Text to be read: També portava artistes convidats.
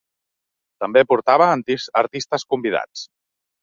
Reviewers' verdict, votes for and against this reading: rejected, 1, 3